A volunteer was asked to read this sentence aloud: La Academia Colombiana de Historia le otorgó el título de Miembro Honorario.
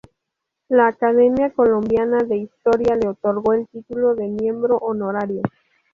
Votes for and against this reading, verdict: 4, 0, accepted